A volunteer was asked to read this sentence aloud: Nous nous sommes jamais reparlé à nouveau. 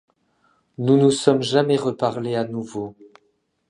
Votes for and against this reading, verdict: 2, 0, accepted